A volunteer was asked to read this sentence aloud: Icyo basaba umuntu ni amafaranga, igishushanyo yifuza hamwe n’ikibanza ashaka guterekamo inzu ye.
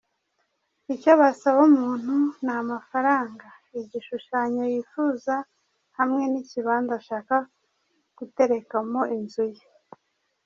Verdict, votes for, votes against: accepted, 2, 0